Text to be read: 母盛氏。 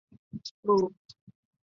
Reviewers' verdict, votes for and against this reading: rejected, 1, 3